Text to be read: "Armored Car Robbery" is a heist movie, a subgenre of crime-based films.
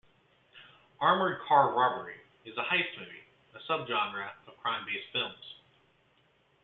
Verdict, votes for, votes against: accepted, 2, 0